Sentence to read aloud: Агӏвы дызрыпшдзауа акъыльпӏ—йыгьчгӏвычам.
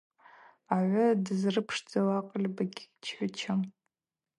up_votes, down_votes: 2, 0